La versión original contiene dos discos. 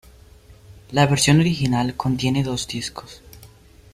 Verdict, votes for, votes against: accepted, 2, 0